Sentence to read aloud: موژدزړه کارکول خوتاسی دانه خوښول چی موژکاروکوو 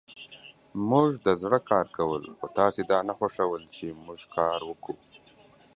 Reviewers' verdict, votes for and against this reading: accepted, 2, 0